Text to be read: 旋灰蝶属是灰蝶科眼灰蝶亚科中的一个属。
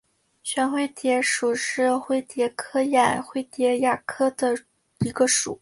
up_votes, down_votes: 1, 2